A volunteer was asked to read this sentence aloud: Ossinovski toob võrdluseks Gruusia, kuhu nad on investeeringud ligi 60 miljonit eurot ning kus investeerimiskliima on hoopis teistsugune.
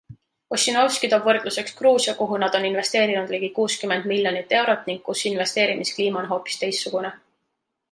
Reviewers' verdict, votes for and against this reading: rejected, 0, 2